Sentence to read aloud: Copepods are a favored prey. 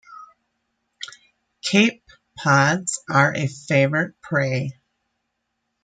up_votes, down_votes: 0, 2